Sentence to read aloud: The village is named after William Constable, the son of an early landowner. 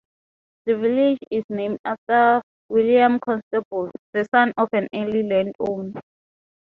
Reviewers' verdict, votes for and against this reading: rejected, 0, 2